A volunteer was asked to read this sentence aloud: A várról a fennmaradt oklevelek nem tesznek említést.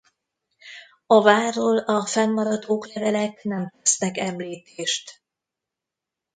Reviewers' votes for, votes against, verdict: 0, 2, rejected